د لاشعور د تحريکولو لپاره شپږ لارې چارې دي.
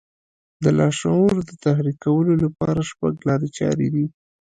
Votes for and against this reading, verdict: 1, 2, rejected